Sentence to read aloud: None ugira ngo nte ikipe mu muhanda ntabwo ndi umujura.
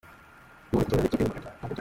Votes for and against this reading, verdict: 0, 2, rejected